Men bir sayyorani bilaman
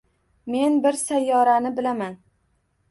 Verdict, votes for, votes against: accepted, 2, 0